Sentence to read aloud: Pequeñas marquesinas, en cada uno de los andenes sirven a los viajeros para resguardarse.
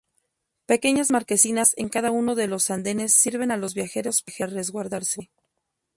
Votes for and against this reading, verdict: 4, 0, accepted